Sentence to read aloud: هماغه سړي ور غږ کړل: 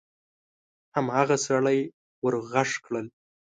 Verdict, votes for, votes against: accepted, 2, 0